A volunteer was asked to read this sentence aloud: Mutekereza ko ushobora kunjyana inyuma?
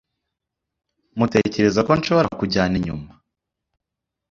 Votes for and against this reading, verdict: 0, 2, rejected